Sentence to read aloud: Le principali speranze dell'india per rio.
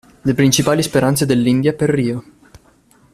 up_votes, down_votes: 2, 0